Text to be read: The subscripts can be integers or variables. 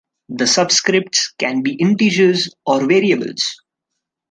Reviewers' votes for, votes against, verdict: 2, 0, accepted